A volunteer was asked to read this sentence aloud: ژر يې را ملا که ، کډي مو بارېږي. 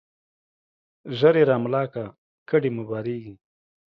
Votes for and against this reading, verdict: 2, 0, accepted